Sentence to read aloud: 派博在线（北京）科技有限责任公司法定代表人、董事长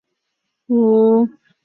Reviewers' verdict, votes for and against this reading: rejected, 1, 2